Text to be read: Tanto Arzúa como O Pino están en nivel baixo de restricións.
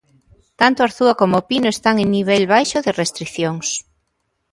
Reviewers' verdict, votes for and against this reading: accepted, 2, 0